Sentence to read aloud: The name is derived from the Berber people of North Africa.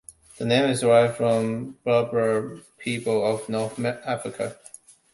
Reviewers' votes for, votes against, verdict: 1, 2, rejected